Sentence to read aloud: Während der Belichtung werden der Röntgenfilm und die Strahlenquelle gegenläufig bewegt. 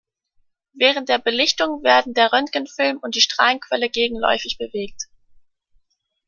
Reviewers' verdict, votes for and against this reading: accepted, 2, 0